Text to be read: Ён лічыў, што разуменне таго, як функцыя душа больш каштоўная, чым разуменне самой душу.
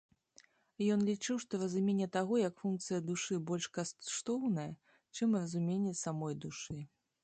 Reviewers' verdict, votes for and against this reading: rejected, 0, 2